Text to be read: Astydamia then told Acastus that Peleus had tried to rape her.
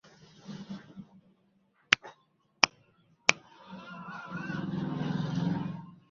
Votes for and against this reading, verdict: 0, 2, rejected